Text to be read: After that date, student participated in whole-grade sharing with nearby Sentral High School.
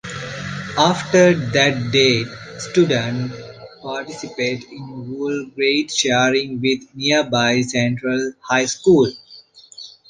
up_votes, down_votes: 2, 0